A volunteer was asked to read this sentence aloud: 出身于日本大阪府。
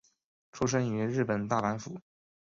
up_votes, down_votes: 8, 0